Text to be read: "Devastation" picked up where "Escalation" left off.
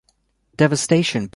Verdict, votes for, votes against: rejected, 0, 2